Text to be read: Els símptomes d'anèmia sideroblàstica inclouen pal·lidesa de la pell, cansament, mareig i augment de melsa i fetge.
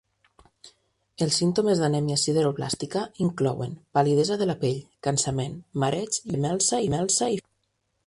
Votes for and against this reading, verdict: 0, 2, rejected